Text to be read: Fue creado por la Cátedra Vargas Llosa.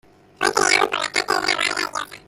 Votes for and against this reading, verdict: 0, 2, rejected